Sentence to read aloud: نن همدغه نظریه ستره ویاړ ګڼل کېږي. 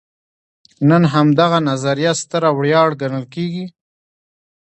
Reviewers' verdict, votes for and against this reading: accepted, 2, 1